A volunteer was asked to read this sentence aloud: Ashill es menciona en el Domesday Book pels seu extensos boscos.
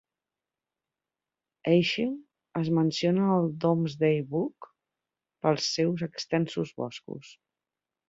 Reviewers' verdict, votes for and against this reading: accepted, 3, 1